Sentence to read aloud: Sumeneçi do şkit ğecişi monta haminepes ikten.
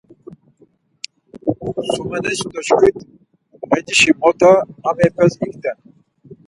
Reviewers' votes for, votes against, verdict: 2, 4, rejected